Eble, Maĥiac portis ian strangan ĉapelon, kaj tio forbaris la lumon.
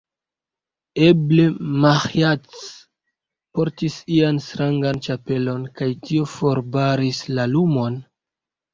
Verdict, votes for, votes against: accepted, 2, 0